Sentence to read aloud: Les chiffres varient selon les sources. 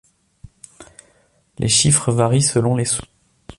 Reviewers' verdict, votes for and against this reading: rejected, 0, 2